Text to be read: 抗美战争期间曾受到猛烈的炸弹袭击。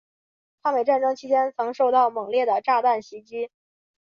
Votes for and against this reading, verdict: 4, 1, accepted